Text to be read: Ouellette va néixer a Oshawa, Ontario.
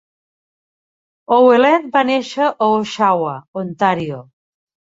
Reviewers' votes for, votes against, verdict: 2, 0, accepted